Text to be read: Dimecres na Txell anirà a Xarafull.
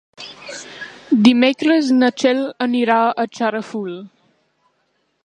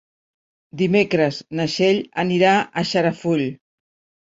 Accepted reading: second